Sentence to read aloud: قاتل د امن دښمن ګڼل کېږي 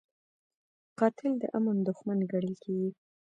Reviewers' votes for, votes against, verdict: 2, 0, accepted